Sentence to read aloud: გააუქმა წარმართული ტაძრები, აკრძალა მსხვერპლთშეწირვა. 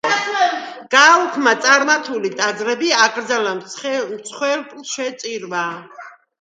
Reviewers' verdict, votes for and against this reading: rejected, 1, 2